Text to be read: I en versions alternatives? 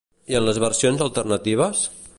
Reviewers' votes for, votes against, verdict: 0, 2, rejected